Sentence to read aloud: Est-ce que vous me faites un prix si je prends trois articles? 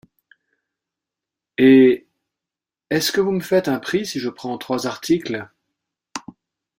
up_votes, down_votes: 0, 2